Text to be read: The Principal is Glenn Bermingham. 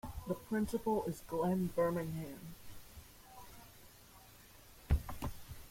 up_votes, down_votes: 1, 2